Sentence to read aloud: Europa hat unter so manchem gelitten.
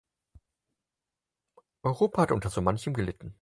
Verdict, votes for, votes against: accepted, 4, 2